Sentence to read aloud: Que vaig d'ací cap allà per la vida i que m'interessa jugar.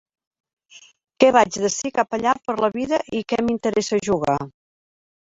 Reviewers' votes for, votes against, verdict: 2, 1, accepted